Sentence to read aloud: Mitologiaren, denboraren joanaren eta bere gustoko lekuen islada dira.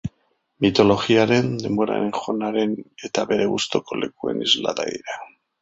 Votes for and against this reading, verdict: 0, 2, rejected